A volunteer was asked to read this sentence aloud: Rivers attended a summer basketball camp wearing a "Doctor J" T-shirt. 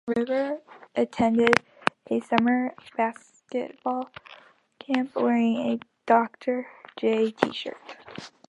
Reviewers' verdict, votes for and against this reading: rejected, 1, 2